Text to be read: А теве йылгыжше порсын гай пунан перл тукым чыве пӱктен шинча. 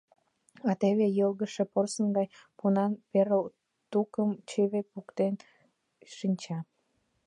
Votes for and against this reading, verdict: 0, 2, rejected